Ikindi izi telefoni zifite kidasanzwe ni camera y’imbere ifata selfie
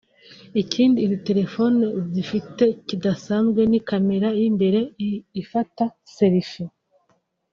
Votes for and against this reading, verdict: 0, 2, rejected